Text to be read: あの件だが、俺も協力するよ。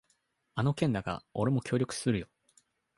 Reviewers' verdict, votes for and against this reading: accepted, 2, 0